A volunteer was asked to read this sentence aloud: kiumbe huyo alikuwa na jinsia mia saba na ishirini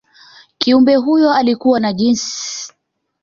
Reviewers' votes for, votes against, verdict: 1, 2, rejected